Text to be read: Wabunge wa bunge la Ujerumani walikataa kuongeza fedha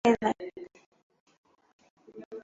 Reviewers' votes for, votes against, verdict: 0, 2, rejected